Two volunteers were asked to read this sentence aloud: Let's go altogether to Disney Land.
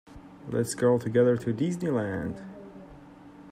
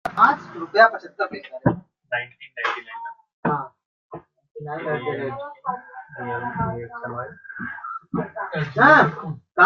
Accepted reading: first